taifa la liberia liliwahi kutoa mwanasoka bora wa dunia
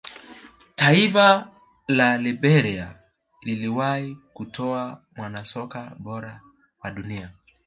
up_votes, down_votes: 2, 1